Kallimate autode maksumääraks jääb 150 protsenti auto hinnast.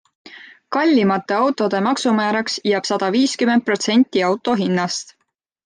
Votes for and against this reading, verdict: 0, 2, rejected